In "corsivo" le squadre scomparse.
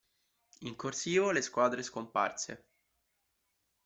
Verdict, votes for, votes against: accepted, 2, 0